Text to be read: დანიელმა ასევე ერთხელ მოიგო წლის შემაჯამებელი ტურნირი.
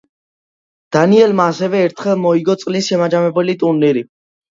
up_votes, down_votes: 2, 0